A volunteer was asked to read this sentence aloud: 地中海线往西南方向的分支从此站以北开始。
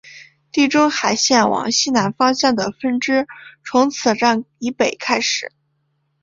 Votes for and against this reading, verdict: 1, 2, rejected